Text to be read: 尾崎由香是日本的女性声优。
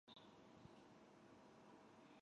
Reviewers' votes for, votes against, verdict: 0, 2, rejected